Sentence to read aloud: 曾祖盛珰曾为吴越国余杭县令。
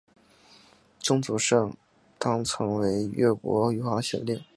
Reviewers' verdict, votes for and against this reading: accepted, 3, 2